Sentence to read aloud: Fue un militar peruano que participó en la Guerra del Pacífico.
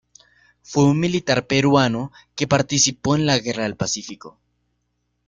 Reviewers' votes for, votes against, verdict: 2, 0, accepted